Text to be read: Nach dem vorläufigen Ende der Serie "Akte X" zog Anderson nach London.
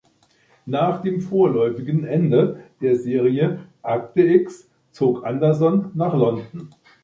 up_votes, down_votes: 2, 0